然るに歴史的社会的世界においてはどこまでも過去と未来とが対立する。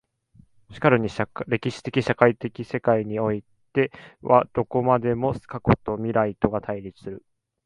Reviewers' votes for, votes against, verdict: 0, 2, rejected